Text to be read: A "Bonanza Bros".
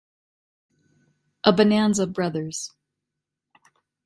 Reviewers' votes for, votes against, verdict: 1, 2, rejected